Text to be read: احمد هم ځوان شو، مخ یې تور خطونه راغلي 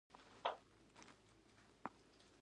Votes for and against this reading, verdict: 0, 2, rejected